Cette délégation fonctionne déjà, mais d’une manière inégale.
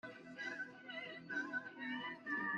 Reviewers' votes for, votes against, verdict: 0, 2, rejected